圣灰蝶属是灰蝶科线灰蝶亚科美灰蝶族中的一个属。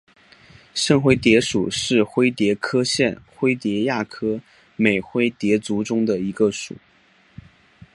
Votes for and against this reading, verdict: 2, 0, accepted